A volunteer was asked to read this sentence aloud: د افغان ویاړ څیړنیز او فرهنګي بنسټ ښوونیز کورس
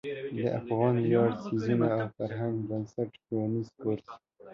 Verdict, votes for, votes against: rejected, 0, 2